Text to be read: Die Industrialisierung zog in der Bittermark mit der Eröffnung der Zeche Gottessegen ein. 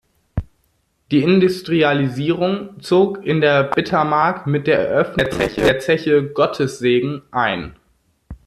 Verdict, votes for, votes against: rejected, 0, 2